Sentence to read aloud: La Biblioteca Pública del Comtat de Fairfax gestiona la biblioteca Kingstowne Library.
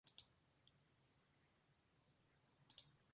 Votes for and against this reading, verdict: 0, 3, rejected